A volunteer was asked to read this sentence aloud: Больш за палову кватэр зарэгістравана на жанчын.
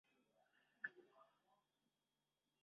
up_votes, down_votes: 0, 2